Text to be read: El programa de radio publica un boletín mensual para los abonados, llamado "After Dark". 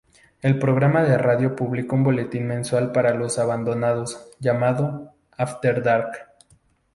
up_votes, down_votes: 2, 2